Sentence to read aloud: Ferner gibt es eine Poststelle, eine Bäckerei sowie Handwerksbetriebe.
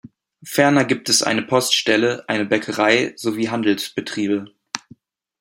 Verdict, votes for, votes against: rejected, 1, 2